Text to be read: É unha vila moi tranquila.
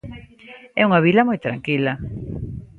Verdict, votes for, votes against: accepted, 2, 0